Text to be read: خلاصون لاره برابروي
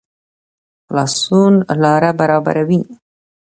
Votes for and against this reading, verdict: 2, 0, accepted